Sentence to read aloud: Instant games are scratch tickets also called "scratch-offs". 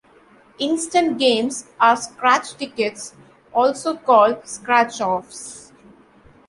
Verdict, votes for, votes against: accepted, 2, 0